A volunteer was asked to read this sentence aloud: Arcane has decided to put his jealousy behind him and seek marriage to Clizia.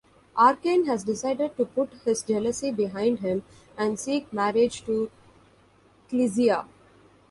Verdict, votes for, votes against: accepted, 2, 0